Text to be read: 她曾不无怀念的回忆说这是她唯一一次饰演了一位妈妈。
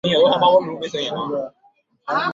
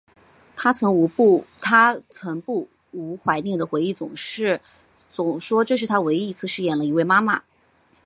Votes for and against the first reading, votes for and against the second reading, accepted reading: 2, 3, 2, 1, second